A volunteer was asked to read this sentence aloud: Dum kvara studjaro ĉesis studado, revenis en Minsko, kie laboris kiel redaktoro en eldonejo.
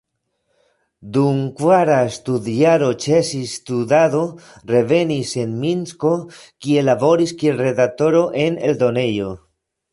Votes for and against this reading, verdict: 2, 1, accepted